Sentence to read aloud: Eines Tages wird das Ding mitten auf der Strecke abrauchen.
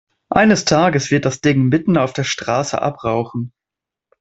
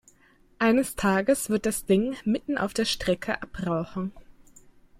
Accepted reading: second